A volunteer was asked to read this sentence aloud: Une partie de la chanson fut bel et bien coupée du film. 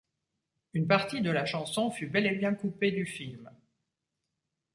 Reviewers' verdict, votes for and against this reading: accepted, 2, 0